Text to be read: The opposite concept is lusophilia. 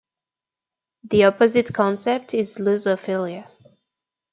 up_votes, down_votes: 2, 0